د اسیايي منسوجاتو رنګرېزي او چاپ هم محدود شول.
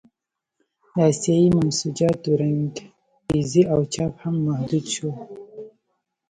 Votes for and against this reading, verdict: 1, 2, rejected